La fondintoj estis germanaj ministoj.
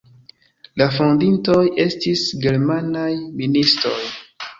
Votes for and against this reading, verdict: 2, 1, accepted